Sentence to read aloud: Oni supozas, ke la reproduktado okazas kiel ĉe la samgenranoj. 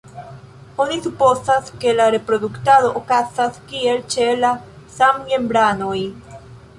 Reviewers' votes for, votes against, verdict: 2, 0, accepted